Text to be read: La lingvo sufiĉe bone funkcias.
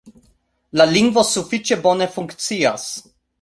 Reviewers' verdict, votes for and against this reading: accepted, 2, 0